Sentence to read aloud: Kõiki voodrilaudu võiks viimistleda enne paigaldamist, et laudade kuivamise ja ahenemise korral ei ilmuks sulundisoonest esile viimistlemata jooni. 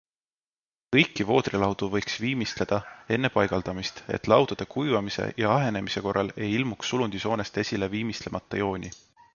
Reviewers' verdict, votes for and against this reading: accepted, 2, 0